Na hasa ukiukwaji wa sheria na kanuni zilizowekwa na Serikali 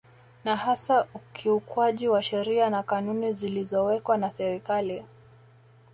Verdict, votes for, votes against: accepted, 2, 0